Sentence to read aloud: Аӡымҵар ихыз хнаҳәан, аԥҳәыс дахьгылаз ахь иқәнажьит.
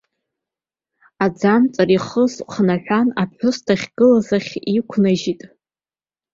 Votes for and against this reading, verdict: 2, 1, accepted